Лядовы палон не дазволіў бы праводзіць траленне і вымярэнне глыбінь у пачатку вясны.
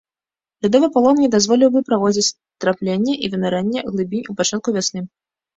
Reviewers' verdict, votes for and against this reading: rejected, 1, 2